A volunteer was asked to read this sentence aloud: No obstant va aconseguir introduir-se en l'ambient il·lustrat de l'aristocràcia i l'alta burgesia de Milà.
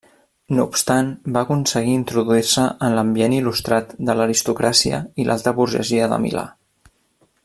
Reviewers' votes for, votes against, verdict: 2, 0, accepted